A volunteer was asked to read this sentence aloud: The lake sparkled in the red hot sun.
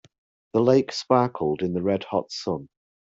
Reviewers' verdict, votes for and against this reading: accepted, 2, 0